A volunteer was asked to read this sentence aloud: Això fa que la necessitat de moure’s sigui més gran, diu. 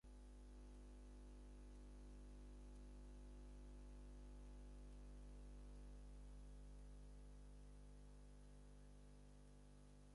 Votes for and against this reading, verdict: 0, 4, rejected